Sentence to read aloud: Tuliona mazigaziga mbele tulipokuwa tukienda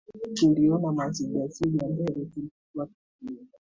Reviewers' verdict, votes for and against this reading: rejected, 0, 2